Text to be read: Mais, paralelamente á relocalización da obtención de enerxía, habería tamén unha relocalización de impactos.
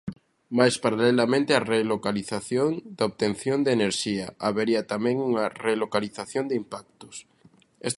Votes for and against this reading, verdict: 0, 2, rejected